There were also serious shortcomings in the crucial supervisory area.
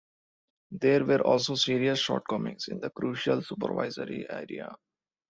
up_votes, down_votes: 2, 0